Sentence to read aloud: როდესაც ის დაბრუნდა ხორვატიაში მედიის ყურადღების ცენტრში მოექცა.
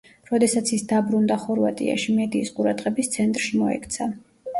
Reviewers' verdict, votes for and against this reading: rejected, 1, 2